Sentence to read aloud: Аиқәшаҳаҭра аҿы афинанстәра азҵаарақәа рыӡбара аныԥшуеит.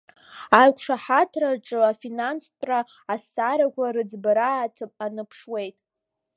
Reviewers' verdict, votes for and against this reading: accepted, 2, 0